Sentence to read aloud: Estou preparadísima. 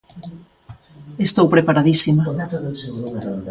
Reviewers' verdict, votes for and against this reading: rejected, 0, 2